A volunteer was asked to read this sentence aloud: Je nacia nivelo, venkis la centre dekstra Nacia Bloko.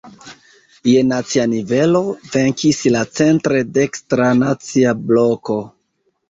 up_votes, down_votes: 2, 0